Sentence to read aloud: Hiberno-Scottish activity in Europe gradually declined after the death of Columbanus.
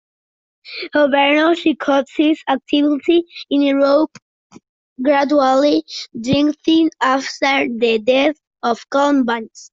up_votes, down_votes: 0, 2